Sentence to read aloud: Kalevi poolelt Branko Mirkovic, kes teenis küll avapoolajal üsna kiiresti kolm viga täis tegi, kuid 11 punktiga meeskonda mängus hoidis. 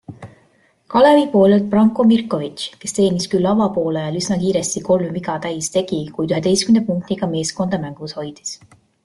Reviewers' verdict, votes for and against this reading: rejected, 0, 2